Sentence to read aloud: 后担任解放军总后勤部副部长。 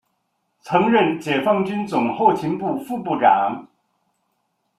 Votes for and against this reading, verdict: 0, 2, rejected